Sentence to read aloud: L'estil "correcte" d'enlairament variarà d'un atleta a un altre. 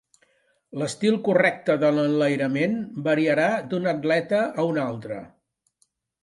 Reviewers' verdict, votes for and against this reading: rejected, 1, 2